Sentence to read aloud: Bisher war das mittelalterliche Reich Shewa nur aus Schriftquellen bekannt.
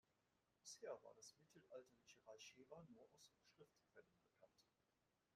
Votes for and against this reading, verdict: 2, 1, accepted